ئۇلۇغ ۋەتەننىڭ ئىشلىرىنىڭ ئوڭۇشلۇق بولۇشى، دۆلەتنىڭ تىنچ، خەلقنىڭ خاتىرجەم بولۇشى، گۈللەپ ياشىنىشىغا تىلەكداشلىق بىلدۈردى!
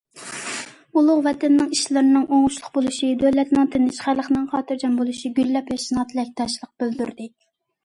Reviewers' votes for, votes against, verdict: 2, 0, accepted